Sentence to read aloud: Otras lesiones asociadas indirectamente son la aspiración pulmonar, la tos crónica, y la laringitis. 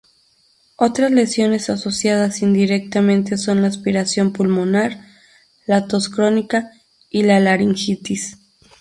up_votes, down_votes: 0, 2